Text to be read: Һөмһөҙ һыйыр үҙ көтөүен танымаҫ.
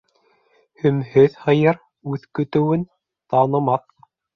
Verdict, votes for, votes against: accepted, 2, 0